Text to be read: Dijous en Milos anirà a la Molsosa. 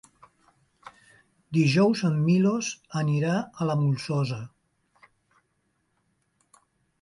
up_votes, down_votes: 3, 0